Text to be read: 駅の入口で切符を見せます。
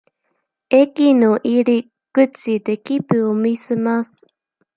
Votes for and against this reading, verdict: 1, 2, rejected